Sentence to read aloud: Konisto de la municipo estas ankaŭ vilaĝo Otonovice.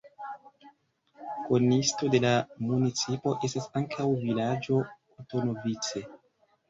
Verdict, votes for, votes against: rejected, 1, 2